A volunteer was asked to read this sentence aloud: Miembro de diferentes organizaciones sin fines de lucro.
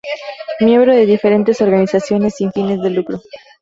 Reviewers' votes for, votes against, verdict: 2, 0, accepted